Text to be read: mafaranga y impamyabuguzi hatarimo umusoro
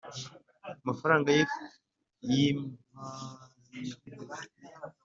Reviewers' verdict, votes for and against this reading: rejected, 1, 2